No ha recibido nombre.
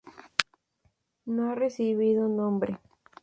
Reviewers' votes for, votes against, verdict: 0, 2, rejected